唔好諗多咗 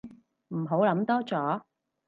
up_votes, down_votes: 4, 0